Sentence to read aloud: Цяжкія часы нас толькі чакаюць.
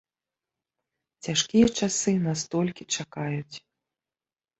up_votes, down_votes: 0, 2